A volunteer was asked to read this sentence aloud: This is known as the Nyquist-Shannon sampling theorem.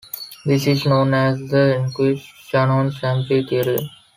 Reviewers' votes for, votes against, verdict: 1, 4, rejected